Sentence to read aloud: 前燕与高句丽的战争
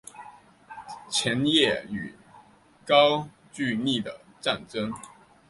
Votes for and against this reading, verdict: 4, 2, accepted